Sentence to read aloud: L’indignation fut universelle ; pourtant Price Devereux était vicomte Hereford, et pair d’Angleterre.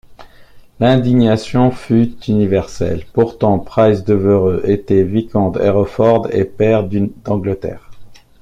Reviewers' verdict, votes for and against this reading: rejected, 1, 2